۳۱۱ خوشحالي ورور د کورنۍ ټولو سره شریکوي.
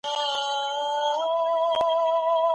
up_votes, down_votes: 0, 2